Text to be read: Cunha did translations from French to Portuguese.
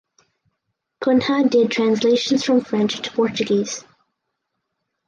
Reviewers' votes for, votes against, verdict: 4, 0, accepted